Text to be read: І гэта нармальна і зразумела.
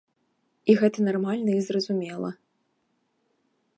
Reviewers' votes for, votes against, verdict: 2, 1, accepted